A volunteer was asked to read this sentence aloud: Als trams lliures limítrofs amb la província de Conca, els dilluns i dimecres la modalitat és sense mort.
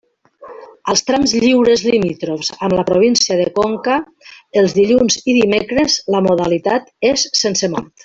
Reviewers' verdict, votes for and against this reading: accepted, 2, 1